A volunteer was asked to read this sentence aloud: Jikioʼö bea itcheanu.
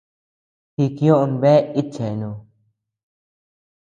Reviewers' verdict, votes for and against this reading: accepted, 2, 0